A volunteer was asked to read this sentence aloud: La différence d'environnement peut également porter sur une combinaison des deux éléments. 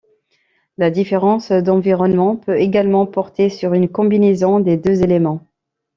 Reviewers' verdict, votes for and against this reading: rejected, 0, 2